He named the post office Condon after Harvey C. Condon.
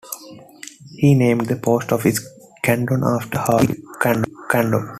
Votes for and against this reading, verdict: 1, 2, rejected